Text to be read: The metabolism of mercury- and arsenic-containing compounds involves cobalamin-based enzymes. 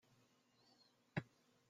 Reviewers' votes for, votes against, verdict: 0, 2, rejected